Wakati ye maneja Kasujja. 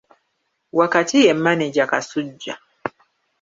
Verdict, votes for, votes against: rejected, 0, 2